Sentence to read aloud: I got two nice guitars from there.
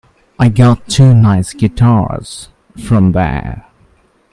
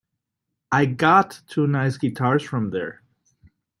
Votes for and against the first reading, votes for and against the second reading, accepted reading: 1, 2, 2, 0, second